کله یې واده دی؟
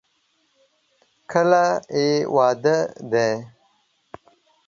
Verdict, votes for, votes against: rejected, 1, 2